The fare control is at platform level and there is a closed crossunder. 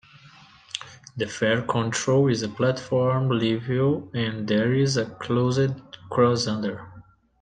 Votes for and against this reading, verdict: 1, 2, rejected